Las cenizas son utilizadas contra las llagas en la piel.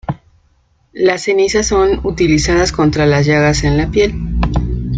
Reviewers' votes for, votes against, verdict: 2, 0, accepted